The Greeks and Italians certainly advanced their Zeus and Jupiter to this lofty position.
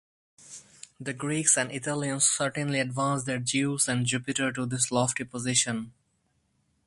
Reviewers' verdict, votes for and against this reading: rejected, 0, 2